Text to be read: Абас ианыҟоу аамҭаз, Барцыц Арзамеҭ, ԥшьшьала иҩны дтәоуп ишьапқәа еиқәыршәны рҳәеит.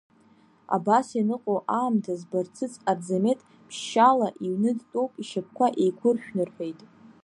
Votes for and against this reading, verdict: 0, 2, rejected